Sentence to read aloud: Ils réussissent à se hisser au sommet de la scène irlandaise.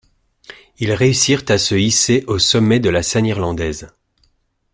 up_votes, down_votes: 0, 2